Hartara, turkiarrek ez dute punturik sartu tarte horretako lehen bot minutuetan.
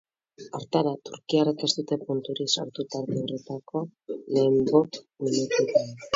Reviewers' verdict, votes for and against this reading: rejected, 0, 4